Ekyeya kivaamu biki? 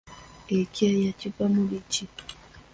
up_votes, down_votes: 1, 3